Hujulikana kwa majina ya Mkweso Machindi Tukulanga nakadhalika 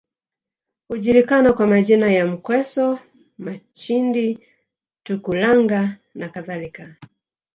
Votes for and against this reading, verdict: 3, 0, accepted